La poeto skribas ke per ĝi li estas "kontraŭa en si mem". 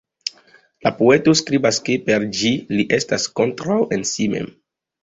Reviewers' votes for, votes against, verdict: 0, 2, rejected